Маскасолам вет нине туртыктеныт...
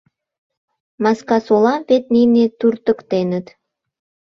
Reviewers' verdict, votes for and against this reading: rejected, 1, 2